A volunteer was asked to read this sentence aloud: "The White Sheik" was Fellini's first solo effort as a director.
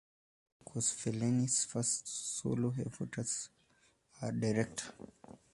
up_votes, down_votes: 0, 2